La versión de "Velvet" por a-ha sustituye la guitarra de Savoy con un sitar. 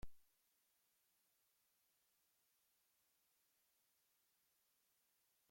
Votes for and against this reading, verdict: 1, 2, rejected